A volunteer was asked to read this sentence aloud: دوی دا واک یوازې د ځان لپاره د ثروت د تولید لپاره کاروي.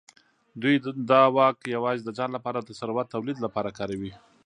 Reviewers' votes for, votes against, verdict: 2, 1, accepted